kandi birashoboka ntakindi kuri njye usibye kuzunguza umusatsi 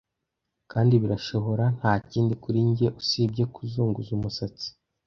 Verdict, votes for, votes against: rejected, 1, 2